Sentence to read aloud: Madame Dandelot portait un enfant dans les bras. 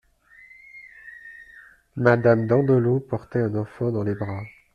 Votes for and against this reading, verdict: 2, 0, accepted